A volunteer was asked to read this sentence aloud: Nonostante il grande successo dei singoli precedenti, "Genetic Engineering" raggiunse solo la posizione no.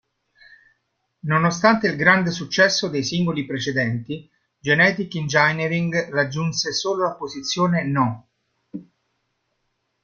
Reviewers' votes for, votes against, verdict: 0, 2, rejected